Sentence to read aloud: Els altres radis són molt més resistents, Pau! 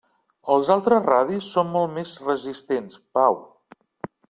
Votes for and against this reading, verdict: 3, 0, accepted